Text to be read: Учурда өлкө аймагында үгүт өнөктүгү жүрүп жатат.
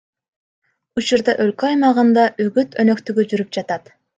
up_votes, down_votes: 1, 2